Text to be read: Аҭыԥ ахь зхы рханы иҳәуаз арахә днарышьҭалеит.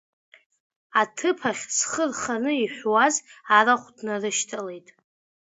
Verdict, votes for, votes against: accepted, 2, 0